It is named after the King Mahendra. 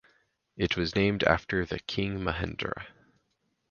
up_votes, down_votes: 2, 4